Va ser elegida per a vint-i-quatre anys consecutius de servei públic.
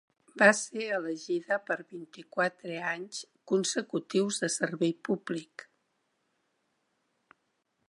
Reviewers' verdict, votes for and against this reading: rejected, 0, 2